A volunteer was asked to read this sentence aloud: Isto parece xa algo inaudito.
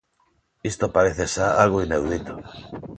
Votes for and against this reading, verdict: 2, 0, accepted